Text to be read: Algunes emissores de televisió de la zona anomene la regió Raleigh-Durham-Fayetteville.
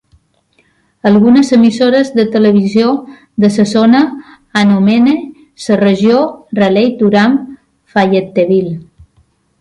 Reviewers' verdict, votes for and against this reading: accepted, 2, 1